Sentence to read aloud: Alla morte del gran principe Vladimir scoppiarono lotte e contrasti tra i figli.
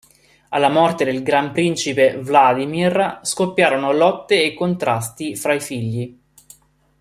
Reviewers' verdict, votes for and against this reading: rejected, 0, 2